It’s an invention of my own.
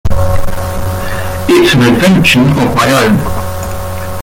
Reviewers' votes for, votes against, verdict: 1, 2, rejected